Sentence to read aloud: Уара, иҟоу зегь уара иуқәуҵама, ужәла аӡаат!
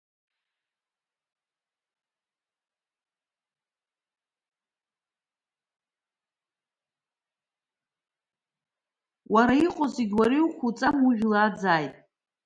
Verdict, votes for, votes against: rejected, 1, 2